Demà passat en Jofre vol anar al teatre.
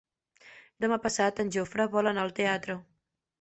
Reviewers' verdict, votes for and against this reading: accepted, 2, 0